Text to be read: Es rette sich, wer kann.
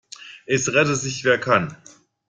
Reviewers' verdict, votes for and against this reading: accepted, 2, 0